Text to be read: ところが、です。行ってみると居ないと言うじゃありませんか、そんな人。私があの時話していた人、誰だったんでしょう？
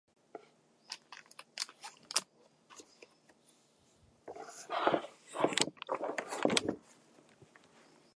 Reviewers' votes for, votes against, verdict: 0, 2, rejected